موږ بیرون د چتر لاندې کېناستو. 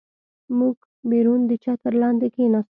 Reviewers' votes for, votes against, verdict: 2, 0, accepted